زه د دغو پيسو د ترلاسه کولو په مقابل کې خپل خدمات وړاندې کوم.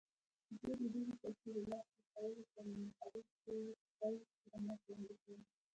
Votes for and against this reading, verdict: 0, 2, rejected